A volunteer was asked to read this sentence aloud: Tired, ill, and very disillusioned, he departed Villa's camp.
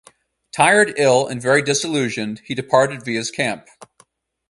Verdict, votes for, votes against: accepted, 4, 0